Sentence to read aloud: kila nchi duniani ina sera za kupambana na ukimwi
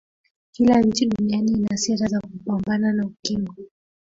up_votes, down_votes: 0, 2